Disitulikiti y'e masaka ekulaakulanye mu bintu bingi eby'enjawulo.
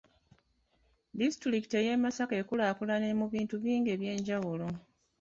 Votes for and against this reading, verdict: 0, 2, rejected